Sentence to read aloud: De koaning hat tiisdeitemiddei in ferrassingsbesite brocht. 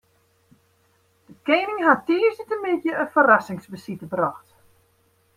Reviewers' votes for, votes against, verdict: 2, 1, accepted